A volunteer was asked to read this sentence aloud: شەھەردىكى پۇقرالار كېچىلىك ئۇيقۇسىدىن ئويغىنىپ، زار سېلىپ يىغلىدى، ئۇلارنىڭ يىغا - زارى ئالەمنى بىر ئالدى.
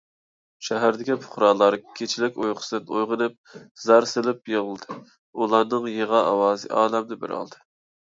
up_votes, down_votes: 1, 2